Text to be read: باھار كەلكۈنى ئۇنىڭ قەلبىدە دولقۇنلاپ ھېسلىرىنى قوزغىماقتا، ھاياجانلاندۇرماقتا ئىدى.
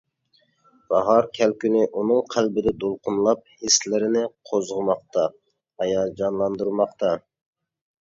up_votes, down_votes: 0, 2